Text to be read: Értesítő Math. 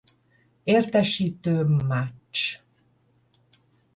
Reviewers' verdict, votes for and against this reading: rejected, 10, 15